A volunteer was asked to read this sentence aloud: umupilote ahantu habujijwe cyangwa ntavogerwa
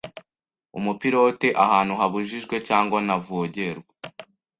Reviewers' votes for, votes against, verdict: 2, 0, accepted